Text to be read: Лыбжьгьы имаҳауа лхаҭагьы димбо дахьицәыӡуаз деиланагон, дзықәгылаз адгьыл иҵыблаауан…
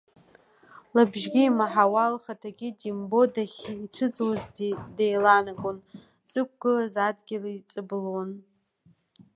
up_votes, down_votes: 0, 2